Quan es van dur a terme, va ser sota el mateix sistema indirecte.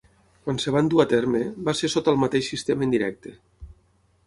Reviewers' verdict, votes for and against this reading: accepted, 6, 0